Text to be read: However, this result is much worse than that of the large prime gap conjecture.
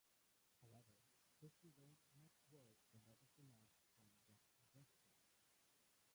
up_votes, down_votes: 0, 2